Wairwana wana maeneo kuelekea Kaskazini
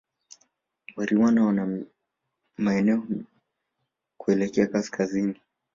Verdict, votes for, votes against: rejected, 0, 3